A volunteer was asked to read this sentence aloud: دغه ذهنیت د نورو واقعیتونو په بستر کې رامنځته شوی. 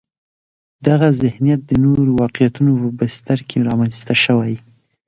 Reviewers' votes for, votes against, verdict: 2, 0, accepted